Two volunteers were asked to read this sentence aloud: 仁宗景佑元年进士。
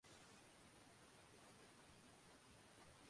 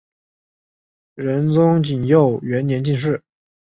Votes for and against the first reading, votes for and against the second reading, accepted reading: 3, 5, 4, 0, second